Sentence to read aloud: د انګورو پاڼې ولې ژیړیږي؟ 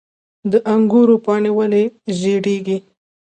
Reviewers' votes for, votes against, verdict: 2, 0, accepted